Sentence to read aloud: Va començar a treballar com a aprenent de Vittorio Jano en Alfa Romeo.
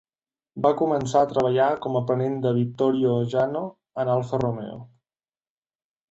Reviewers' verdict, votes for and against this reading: accepted, 2, 0